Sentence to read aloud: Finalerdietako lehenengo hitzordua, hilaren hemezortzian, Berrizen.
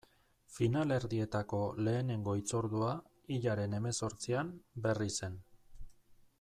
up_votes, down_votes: 2, 0